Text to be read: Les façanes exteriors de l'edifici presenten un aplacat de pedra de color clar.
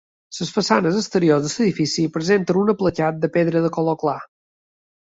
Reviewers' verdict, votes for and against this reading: accepted, 2, 0